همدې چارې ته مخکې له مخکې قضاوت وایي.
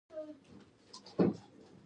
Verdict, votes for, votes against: rejected, 0, 2